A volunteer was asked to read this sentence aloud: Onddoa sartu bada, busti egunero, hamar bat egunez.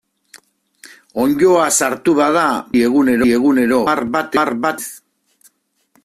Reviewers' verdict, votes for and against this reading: rejected, 0, 2